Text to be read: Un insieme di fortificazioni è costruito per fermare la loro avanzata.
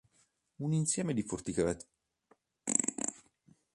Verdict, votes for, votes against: rejected, 0, 2